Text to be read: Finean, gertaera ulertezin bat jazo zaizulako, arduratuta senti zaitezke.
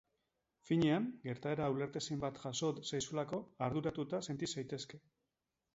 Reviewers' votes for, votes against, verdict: 2, 0, accepted